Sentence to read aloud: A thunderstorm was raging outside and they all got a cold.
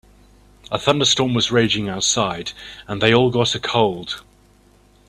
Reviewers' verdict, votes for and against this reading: accepted, 2, 0